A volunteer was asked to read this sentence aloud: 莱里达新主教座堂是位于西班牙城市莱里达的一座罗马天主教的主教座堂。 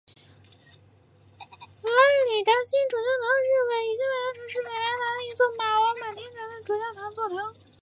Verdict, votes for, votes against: rejected, 0, 2